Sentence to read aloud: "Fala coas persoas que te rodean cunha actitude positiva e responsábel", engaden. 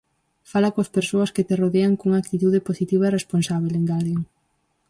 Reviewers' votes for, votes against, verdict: 2, 2, rejected